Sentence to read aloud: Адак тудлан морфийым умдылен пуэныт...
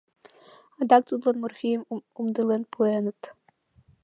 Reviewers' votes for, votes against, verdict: 2, 1, accepted